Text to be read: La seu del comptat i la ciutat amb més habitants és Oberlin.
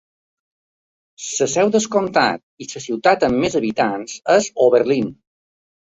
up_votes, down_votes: 0, 2